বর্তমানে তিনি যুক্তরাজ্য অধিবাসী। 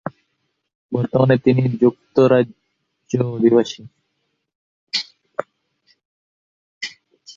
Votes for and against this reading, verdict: 0, 2, rejected